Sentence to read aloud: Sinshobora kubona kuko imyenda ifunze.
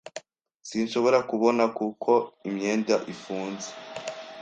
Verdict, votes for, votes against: accepted, 2, 0